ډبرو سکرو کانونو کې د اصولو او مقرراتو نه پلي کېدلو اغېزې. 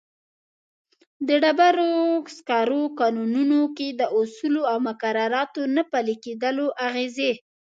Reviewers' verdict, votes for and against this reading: accepted, 3, 1